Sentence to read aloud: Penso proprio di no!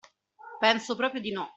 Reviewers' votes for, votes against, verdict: 2, 0, accepted